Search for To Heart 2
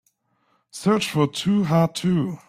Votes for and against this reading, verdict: 0, 2, rejected